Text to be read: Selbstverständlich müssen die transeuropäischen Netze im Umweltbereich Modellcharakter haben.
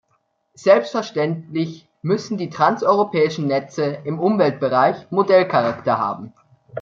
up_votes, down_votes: 2, 0